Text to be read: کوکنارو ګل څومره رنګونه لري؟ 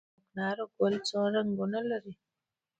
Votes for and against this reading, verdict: 2, 0, accepted